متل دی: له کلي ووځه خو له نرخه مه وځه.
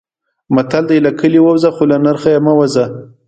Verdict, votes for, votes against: rejected, 0, 2